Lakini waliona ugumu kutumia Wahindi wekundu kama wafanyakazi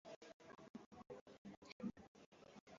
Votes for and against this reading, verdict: 0, 2, rejected